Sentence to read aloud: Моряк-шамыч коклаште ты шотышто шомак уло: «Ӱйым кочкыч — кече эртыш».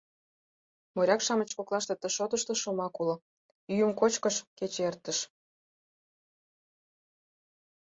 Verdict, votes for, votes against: rejected, 0, 4